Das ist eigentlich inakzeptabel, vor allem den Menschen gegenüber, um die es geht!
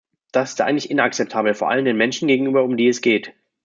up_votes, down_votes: 1, 2